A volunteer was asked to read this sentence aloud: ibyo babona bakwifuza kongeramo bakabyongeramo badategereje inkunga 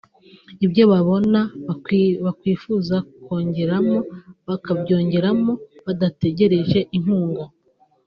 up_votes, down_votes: 0, 2